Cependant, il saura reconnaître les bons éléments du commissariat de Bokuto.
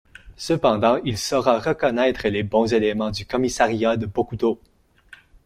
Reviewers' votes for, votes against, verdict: 0, 2, rejected